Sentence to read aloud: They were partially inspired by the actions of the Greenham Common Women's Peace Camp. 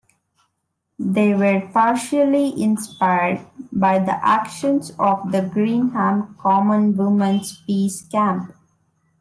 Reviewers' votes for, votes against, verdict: 2, 0, accepted